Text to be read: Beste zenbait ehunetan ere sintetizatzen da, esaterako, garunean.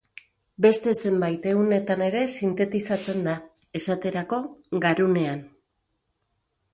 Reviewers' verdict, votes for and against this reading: accepted, 4, 0